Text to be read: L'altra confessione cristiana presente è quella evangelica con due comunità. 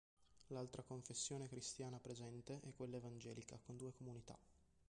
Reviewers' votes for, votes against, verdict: 2, 3, rejected